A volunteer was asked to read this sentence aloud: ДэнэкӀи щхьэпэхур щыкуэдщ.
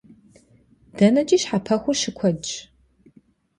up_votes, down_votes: 2, 0